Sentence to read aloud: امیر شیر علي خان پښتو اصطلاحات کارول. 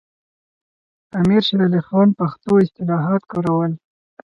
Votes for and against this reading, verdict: 2, 2, rejected